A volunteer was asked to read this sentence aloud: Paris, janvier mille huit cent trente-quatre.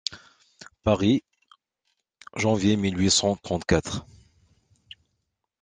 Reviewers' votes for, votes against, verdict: 2, 0, accepted